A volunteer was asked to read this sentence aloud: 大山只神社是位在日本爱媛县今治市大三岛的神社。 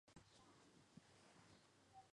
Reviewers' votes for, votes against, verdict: 0, 3, rejected